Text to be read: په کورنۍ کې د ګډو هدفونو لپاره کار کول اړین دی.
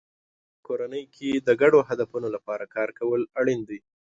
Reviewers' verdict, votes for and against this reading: accepted, 2, 0